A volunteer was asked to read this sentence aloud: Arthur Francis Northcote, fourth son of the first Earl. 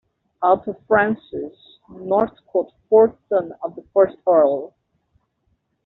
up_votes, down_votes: 2, 0